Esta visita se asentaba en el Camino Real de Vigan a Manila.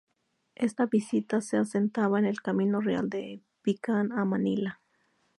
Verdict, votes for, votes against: rejected, 0, 2